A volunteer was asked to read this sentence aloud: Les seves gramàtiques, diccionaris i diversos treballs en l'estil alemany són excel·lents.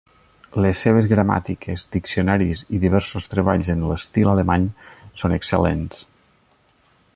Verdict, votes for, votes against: accepted, 3, 0